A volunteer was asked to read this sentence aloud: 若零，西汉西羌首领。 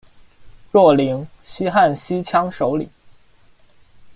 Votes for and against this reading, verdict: 2, 0, accepted